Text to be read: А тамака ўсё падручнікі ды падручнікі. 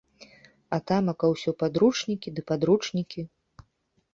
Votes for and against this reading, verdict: 2, 0, accepted